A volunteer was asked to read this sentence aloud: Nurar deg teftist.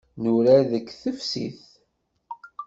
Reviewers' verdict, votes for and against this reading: accepted, 2, 0